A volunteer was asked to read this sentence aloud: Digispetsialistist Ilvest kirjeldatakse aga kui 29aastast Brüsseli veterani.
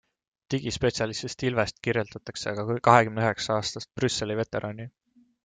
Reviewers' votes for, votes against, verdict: 0, 2, rejected